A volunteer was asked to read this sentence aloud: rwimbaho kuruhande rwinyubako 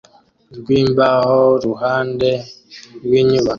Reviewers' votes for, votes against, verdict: 2, 0, accepted